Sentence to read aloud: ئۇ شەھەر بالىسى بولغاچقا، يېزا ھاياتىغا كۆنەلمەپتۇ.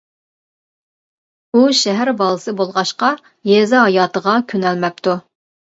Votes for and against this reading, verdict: 2, 0, accepted